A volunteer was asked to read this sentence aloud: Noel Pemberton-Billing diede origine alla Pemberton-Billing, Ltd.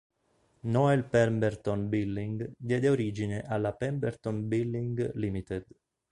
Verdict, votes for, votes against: rejected, 2, 3